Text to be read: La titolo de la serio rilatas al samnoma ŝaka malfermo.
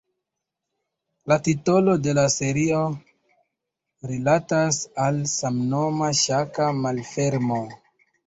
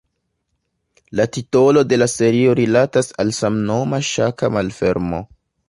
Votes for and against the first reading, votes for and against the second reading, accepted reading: 0, 2, 2, 0, second